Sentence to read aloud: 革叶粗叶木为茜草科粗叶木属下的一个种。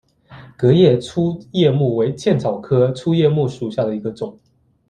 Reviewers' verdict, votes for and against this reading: accepted, 2, 0